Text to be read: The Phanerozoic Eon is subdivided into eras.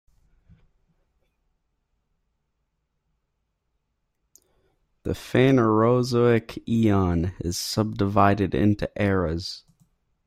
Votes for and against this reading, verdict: 2, 1, accepted